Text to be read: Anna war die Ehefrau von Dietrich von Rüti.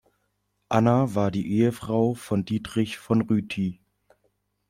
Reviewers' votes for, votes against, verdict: 2, 0, accepted